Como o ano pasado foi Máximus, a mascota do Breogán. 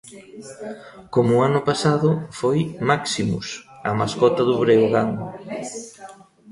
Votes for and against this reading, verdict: 1, 2, rejected